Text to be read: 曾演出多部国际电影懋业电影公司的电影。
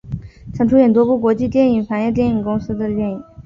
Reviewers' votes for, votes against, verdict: 2, 0, accepted